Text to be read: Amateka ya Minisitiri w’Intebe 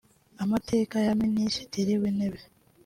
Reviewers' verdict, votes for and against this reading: accepted, 2, 0